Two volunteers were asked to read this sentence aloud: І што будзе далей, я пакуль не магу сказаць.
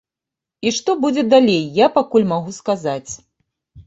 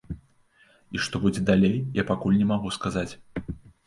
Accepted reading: second